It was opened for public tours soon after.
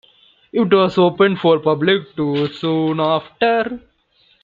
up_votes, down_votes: 2, 0